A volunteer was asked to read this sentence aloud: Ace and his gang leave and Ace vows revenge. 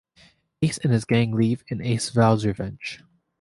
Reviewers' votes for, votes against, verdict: 2, 0, accepted